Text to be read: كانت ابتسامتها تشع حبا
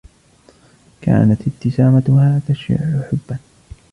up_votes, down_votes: 1, 2